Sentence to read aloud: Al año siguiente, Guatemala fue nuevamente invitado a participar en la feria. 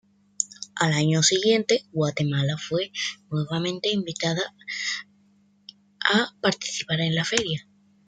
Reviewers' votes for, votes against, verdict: 1, 2, rejected